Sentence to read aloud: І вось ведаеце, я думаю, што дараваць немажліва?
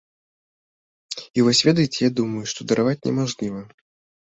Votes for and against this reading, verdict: 2, 0, accepted